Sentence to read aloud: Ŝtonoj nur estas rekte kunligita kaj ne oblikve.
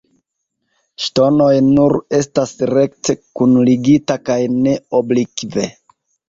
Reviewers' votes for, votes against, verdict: 1, 3, rejected